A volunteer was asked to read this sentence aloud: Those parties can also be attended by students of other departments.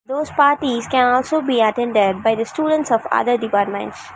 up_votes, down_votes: 0, 2